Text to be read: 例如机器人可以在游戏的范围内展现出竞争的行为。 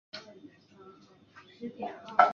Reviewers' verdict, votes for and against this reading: rejected, 0, 2